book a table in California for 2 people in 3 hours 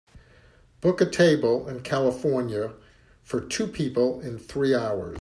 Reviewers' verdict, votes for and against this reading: rejected, 0, 2